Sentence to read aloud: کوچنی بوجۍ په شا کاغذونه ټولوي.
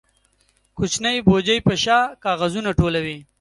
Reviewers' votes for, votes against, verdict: 2, 0, accepted